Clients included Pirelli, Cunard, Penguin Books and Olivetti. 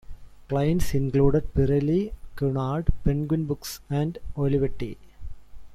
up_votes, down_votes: 1, 2